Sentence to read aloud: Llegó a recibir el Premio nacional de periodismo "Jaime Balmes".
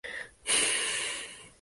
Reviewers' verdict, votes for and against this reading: rejected, 2, 2